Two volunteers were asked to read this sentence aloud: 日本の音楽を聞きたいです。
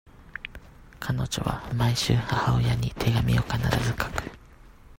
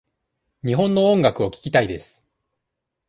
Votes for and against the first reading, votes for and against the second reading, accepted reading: 0, 2, 2, 0, second